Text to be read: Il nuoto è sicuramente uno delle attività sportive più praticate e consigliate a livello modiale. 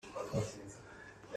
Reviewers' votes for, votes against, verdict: 0, 2, rejected